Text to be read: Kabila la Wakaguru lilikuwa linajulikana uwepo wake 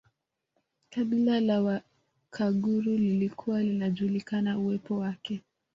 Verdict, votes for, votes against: rejected, 0, 2